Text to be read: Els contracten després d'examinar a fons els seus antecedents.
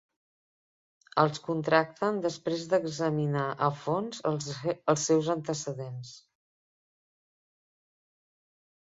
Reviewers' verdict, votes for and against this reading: rejected, 2, 3